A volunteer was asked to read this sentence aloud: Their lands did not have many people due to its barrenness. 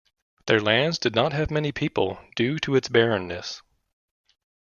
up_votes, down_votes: 2, 0